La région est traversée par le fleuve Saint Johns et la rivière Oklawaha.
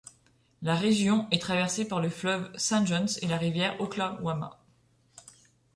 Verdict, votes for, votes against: rejected, 0, 2